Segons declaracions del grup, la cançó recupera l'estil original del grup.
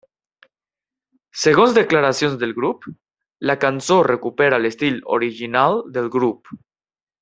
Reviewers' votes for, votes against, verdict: 3, 1, accepted